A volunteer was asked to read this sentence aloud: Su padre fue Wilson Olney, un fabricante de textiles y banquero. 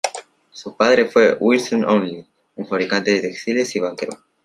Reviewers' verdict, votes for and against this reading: accepted, 2, 1